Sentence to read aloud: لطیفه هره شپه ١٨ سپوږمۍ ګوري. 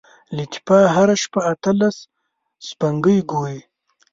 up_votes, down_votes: 0, 2